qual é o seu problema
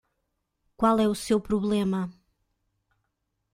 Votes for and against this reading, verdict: 1, 2, rejected